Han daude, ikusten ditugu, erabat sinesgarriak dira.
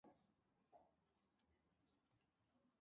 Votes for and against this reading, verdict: 0, 2, rejected